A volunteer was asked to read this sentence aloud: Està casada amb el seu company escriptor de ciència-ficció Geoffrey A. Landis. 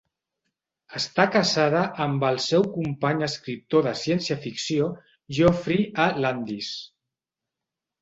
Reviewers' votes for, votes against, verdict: 1, 2, rejected